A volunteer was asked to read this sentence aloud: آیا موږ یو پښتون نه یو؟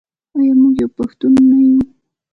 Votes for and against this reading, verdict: 2, 0, accepted